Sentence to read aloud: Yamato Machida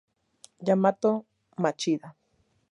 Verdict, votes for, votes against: accepted, 2, 0